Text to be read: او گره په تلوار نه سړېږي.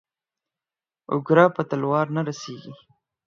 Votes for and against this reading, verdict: 2, 4, rejected